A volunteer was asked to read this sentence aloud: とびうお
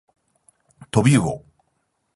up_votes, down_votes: 10, 0